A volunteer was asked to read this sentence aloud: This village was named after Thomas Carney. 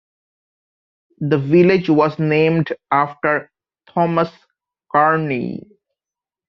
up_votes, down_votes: 1, 2